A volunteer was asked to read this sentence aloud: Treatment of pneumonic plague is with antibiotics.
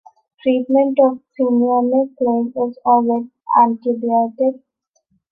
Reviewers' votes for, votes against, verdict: 1, 2, rejected